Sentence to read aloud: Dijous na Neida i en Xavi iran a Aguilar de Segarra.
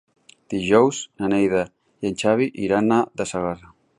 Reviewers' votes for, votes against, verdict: 1, 2, rejected